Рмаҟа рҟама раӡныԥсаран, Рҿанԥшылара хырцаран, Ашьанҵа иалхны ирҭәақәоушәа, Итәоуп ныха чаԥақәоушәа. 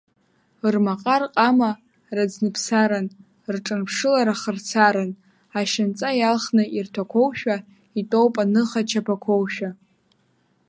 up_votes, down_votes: 1, 2